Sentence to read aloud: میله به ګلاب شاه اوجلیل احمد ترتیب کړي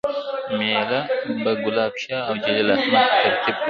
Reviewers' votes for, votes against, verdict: 0, 2, rejected